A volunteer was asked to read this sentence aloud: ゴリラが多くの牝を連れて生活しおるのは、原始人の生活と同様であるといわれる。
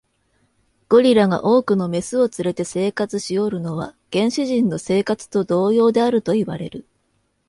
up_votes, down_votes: 2, 0